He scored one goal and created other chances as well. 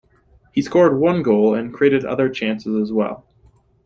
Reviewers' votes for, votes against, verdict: 2, 0, accepted